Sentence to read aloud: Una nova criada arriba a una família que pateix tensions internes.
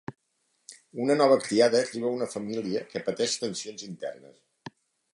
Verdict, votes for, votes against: accepted, 2, 0